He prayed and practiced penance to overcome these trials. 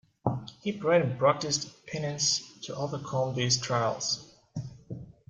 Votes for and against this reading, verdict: 1, 2, rejected